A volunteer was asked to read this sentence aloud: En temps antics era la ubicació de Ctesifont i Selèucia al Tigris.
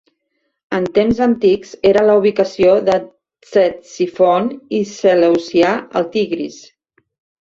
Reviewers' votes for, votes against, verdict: 0, 2, rejected